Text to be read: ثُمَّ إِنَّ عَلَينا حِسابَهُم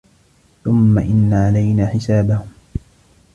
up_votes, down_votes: 2, 0